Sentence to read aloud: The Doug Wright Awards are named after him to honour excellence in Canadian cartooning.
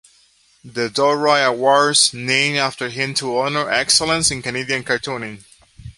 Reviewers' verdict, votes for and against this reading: rejected, 1, 2